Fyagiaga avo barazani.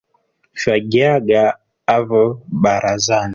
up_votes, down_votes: 4, 0